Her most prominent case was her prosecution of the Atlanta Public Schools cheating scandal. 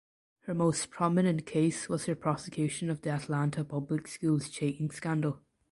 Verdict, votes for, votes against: accepted, 2, 0